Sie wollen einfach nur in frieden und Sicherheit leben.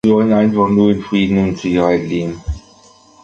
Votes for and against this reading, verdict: 0, 2, rejected